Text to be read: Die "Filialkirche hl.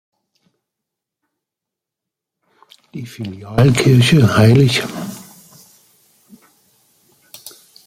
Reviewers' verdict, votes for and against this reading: rejected, 0, 2